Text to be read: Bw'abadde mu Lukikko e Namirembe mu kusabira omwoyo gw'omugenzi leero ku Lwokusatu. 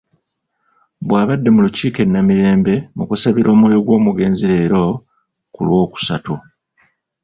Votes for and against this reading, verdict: 0, 2, rejected